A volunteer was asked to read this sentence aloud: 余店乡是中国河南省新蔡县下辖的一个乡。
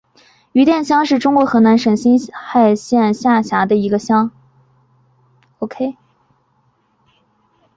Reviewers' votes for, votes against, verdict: 2, 0, accepted